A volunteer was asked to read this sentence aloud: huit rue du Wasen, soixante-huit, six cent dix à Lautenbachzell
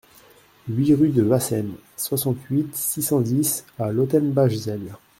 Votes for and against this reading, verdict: 0, 2, rejected